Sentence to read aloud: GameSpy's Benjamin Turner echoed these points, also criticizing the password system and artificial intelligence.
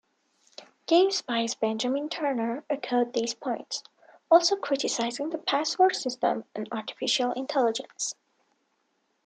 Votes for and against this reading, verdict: 2, 0, accepted